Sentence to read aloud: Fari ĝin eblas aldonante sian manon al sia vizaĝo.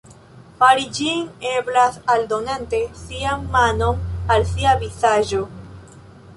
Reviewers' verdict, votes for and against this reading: accepted, 2, 0